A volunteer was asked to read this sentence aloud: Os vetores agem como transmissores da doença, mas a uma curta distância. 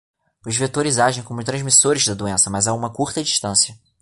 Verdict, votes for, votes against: accepted, 2, 0